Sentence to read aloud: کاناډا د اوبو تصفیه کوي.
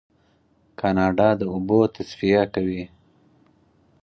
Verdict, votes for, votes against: accepted, 4, 0